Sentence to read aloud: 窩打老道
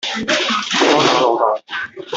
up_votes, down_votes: 1, 2